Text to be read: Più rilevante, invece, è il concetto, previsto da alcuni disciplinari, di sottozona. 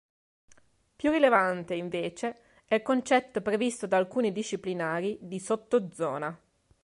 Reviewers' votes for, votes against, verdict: 2, 0, accepted